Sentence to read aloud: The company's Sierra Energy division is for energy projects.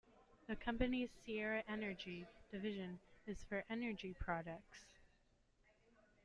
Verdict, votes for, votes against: rejected, 1, 2